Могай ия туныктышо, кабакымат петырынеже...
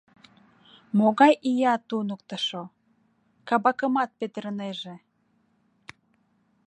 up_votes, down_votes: 2, 0